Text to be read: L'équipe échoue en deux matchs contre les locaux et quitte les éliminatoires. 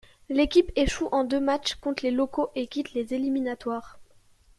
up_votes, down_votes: 2, 0